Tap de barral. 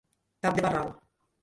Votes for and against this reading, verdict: 1, 2, rejected